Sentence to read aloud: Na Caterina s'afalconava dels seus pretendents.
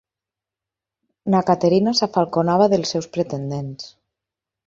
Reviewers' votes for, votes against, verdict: 6, 0, accepted